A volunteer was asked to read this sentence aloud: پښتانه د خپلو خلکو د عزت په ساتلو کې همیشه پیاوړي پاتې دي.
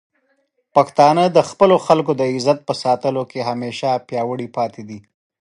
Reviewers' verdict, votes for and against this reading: accepted, 2, 0